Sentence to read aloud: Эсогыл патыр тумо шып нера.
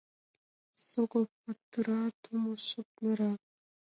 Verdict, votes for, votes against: rejected, 1, 2